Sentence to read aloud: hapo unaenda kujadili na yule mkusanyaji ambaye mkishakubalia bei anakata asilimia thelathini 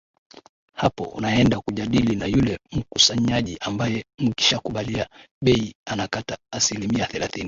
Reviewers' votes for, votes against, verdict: 2, 0, accepted